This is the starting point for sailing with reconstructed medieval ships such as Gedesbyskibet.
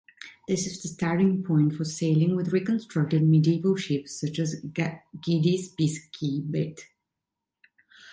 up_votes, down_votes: 1, 2